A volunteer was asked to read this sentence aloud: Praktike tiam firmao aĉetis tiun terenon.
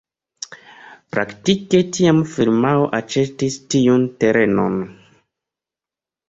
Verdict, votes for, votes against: accepted, 2, 0